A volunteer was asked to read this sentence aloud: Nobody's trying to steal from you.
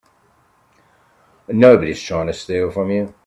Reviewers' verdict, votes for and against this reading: accepted, 2, 0